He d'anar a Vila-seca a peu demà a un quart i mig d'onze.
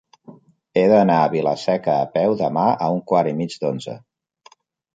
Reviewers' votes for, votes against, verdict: 3, 0, accepted